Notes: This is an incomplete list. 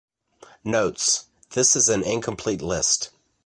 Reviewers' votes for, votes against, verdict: 2, 0, accepted